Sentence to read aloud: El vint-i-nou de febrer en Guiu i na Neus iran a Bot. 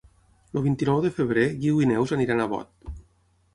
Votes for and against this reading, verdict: 3, 6, rejected